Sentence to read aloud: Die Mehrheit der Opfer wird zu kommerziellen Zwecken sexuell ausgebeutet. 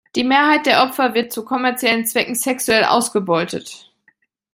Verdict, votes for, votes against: accepted, 2, 0